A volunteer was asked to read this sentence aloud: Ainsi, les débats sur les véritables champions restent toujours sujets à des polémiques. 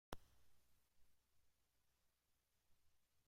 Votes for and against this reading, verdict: 0, 2, rejected